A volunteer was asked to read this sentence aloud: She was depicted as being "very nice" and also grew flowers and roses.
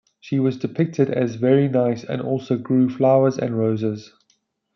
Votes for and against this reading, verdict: 1, 2, rejected